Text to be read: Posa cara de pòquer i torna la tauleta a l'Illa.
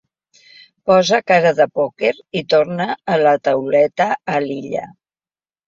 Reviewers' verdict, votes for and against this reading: accepted, 3, 0